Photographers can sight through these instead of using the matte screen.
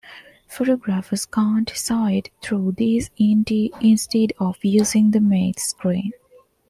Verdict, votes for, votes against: rejected, 1, 2